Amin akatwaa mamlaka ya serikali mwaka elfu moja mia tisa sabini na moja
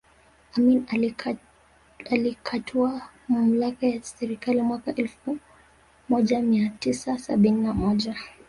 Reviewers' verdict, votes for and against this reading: accepted, 2, 0